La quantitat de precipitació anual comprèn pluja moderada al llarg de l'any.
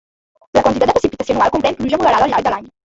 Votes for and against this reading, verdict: 0, 2, rejected